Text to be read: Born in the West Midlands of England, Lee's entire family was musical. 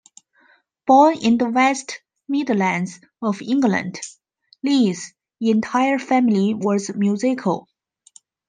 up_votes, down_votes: 1, 2